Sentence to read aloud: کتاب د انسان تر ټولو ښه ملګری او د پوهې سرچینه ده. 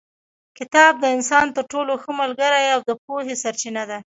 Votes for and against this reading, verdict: 2, 1, accepted